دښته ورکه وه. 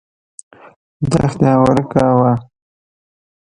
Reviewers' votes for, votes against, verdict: 1, 2, rejected